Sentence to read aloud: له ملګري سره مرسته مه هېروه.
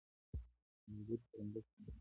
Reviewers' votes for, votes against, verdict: 0, 2, rejected